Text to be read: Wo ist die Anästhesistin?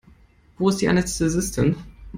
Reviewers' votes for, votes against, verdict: 1, 2, rejected